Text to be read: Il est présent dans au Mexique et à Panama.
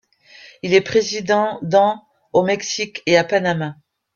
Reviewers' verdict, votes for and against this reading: rejected, 0, 2